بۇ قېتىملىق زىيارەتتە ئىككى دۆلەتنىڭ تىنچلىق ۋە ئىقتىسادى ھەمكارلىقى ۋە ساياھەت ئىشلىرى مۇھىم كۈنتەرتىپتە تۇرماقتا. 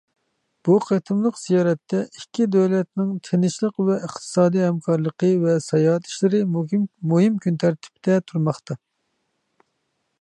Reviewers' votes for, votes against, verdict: 0, 2, rejected